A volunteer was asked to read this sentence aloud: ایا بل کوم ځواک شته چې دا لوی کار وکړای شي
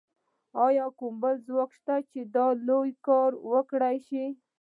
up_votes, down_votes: 2, 0